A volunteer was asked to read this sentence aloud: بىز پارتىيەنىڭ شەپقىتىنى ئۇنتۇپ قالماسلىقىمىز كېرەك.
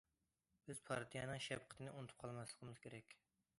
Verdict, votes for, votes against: accepted, 2, 0